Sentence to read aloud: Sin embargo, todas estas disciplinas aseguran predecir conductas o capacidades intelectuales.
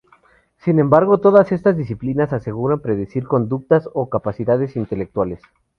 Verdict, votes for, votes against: rejected, 0, 2